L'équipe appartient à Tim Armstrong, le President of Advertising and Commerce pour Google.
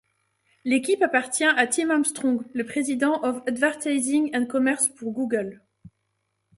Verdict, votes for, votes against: accepted, 2, 0